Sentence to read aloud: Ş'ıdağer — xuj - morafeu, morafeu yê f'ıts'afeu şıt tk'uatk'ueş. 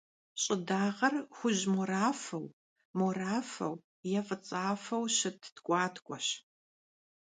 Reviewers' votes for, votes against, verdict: 2, 0, accepted